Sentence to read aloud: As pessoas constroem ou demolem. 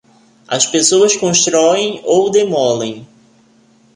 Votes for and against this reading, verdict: 2, 0, accepted